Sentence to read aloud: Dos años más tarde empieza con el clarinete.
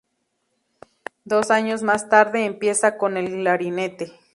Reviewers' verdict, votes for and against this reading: rejected, 0, 2